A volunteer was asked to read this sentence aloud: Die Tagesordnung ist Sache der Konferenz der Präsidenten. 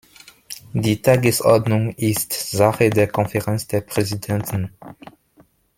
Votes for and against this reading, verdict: 2, 0, accepted